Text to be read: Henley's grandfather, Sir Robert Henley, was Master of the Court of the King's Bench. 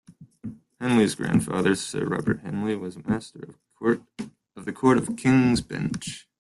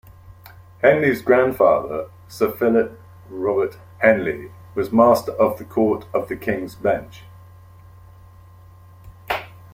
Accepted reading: first